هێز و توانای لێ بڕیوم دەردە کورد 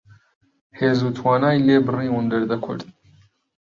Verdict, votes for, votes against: accepted, 2, 0